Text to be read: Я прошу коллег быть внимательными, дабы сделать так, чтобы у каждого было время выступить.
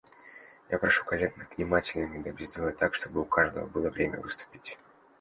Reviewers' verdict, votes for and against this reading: rejected, 1, 2